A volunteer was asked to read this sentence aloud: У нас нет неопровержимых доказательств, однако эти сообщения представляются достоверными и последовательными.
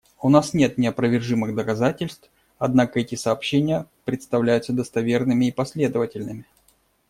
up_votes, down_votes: 2, 0